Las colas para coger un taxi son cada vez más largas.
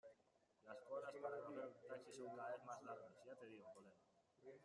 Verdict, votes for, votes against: rejected, 0, 2